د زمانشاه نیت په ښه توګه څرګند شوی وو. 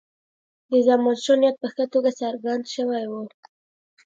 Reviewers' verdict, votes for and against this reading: accepted, 2, 1